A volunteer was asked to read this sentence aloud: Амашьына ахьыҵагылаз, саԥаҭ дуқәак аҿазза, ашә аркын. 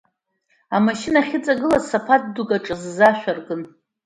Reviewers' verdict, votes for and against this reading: accepted, 2, 1